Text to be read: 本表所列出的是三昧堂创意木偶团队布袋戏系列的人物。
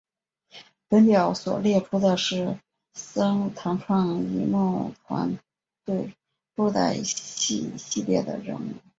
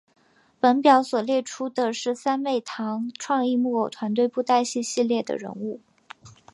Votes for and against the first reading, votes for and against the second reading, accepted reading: 0, 2, 2, 0, second